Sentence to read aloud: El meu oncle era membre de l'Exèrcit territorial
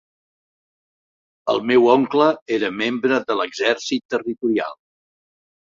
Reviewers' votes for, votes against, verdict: 4, 0, accepted